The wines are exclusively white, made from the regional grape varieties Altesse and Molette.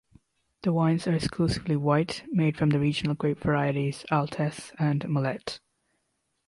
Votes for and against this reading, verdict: 2, 0, accepted